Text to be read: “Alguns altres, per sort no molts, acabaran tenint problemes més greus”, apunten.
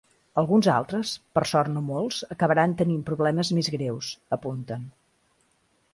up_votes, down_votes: 2, 0